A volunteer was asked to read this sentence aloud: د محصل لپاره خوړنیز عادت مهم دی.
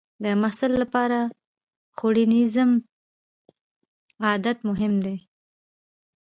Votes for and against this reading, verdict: 1, 2, rejected